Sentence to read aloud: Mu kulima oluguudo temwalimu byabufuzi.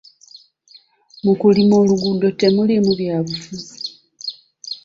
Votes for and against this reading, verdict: 1, 2, rejected